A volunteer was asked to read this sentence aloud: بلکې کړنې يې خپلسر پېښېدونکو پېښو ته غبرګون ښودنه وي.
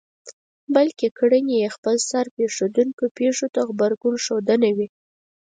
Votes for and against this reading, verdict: 4, 0, accepted